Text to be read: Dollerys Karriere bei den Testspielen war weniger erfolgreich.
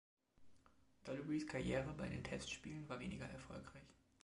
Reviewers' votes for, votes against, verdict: 3, 0, accepted